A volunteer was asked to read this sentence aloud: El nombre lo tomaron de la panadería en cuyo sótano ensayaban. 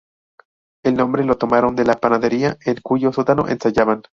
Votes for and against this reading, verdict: 0, 2, rejected